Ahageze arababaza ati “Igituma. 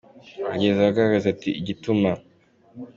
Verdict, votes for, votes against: accepted, 2, 0